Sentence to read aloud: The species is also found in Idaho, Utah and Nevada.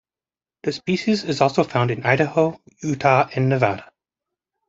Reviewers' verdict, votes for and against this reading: accepted, 2, 1